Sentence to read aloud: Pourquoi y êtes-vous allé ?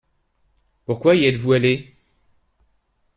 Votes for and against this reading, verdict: 2, 0, accepted